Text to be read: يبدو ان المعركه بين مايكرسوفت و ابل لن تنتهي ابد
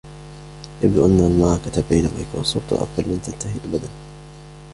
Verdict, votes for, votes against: rejected, 0, 2